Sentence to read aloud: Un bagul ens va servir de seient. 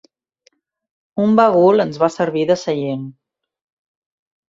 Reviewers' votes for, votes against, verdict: 2, 0, accepted